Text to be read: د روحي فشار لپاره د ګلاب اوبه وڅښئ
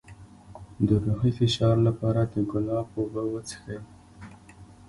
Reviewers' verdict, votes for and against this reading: accepted, 2, 0